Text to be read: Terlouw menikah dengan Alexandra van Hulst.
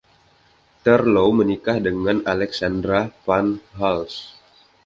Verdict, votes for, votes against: accepted, 2, 0